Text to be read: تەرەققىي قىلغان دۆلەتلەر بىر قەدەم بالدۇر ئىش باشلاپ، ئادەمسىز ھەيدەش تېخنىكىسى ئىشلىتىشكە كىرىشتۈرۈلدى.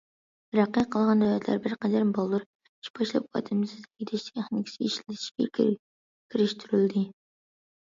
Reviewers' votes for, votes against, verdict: 0, 2, rejected